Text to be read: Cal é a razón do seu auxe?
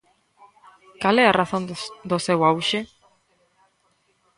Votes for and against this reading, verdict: 1, 2, rejected